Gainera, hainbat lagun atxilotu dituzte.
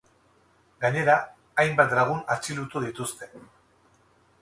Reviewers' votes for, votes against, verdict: 4, 0, accepted